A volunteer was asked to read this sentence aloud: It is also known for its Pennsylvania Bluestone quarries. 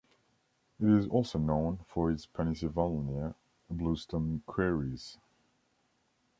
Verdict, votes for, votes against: rejected, 1, 2